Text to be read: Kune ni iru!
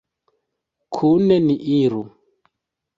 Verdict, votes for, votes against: accepted, 2, 0